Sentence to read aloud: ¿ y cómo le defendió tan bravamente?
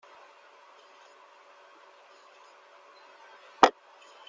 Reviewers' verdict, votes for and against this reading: rejected, 0, 2